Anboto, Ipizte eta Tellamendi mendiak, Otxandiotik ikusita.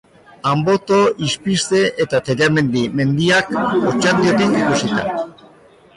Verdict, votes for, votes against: rejected, 0, 2